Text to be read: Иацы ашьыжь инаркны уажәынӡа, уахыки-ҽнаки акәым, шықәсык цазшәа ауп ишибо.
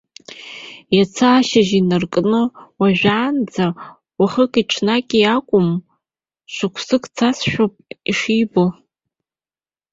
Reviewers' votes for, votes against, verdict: 0, 2, rejected